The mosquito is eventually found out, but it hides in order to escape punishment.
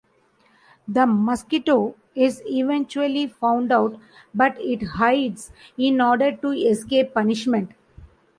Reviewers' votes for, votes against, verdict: 2, 0, accepted